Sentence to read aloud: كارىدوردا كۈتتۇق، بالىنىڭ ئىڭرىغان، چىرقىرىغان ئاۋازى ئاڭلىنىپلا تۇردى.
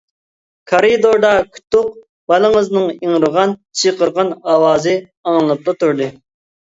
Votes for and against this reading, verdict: 0, 2, rejected